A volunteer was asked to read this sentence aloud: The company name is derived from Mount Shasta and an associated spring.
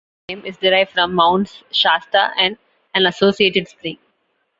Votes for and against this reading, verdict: 0, 2, rejected